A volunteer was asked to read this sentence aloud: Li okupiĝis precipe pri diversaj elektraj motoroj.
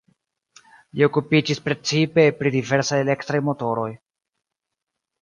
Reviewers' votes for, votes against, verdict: 1, 2, rejected